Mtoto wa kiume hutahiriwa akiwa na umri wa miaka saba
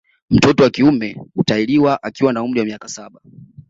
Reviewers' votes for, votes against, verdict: 2, 0, accepted